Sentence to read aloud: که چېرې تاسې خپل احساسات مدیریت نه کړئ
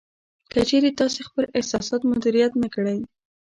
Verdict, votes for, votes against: rejected, 1, 2